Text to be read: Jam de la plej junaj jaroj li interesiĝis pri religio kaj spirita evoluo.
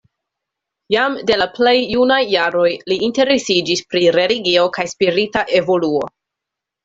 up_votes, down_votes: 2, 0